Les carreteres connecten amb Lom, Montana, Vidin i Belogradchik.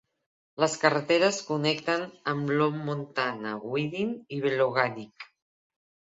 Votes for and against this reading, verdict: 1, 2, rejected